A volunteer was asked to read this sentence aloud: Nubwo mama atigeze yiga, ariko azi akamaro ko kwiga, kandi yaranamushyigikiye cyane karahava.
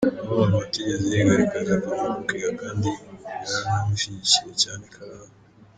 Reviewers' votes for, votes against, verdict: 0, 2, rejected